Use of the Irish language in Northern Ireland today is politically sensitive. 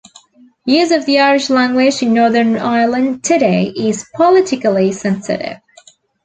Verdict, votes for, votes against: accepted, 2, 0